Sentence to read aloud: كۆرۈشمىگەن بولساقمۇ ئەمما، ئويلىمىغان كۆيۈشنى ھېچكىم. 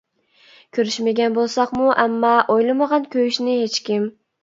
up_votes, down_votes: 2, 0